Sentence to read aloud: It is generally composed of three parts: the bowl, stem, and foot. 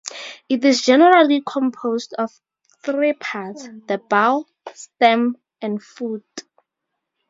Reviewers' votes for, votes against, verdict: 2, 0, accepted